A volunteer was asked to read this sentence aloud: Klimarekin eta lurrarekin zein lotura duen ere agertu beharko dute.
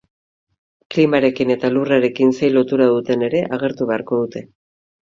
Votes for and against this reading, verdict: 2, 4, rejected